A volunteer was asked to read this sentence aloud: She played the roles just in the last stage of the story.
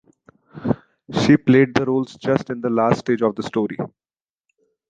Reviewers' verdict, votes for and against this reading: accepted, 2, 0